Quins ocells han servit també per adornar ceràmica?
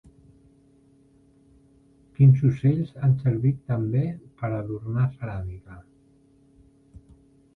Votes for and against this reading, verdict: 2, 1, accepted